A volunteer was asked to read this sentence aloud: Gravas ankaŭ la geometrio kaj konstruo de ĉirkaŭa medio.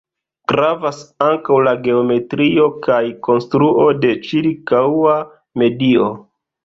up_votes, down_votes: 2, 0